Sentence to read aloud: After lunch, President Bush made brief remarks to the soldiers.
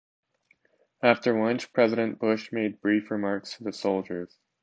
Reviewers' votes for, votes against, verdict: 2, 0, accepted